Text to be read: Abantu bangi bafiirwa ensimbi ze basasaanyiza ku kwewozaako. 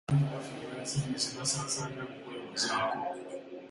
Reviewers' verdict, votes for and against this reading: rejected, 0, 2